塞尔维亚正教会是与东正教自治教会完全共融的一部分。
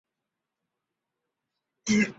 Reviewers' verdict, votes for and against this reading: rejected, 0, 3